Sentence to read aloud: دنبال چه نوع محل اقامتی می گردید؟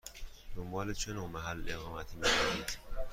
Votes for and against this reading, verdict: 2, 1, accepted